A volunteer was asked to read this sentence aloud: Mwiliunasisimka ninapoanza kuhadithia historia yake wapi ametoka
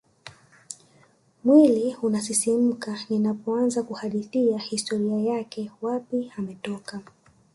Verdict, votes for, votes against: rejected, 0, 2